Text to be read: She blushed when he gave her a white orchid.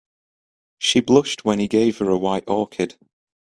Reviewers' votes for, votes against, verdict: 2, 1, accepted